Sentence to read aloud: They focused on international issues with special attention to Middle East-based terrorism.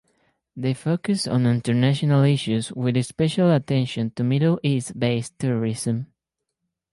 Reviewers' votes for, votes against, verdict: 4, 2, accepted